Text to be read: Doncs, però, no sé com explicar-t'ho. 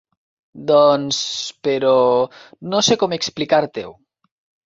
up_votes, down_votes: 1, 2